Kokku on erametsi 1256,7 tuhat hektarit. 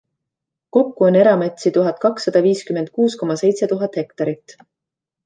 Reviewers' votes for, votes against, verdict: 0, 2, rejected